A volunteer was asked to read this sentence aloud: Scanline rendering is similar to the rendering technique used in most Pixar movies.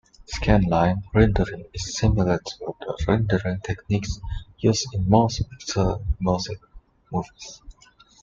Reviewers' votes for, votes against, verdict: 0, 2, rejected